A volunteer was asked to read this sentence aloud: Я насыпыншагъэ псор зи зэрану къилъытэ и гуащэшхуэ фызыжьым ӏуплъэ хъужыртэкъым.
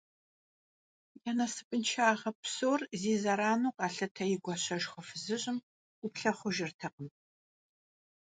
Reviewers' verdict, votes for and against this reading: rejected, 0, 2